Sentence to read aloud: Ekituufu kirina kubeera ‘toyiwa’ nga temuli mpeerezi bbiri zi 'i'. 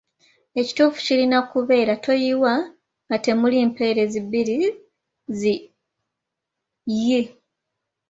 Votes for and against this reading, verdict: 3, 0, accepted